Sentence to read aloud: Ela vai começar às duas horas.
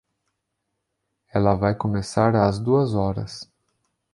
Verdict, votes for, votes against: accepted, 2, 0